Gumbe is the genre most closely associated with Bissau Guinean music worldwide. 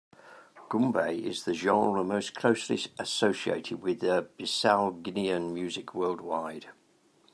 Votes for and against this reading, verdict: 1, 2, rejected